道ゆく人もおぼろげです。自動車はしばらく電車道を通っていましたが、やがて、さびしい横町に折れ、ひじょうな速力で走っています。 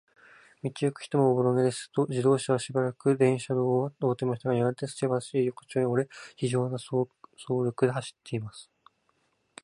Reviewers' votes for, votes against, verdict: 2, 4, rejected